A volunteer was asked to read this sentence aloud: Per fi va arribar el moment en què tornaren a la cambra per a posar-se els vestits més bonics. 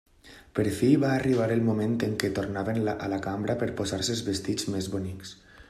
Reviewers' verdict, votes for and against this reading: rejected, 1, 2